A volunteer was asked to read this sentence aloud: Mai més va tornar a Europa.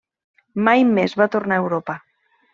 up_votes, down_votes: 3, 0